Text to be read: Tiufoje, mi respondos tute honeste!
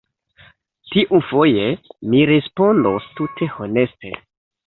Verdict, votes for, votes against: accepted, 2, 0